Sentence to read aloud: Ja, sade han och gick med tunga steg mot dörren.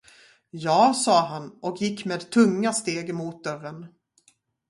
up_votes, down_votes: 2, 0